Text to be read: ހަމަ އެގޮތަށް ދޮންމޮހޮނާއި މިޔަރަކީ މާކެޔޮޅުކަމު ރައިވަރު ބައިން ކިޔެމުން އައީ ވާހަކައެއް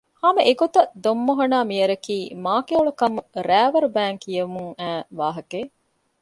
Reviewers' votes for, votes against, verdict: 2, 0, accepted